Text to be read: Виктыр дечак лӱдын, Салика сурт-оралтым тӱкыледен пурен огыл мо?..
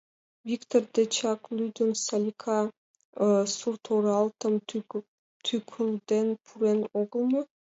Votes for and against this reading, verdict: 0, 2, rejected